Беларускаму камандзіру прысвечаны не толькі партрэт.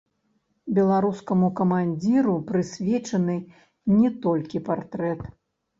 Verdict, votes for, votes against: rejected, 1, 2